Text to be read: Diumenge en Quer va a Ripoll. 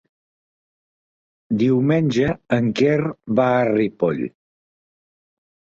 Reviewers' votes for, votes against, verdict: 2, 0, accepted